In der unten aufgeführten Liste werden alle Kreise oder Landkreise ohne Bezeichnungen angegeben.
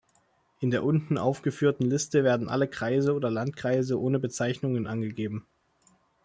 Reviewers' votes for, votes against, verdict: 2, 0, accepted